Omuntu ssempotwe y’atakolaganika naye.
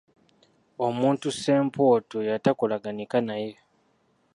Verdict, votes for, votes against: rejected, 1, 2